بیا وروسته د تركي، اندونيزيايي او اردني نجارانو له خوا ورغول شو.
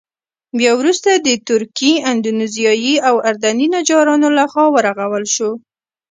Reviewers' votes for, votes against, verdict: 0, 2, rejected